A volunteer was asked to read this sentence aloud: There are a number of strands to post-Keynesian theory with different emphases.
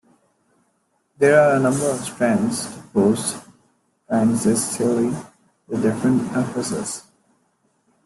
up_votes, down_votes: 0, 2